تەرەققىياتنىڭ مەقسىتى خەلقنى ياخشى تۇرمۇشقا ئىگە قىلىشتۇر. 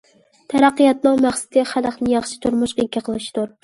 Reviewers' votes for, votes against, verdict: 1, 2, rejected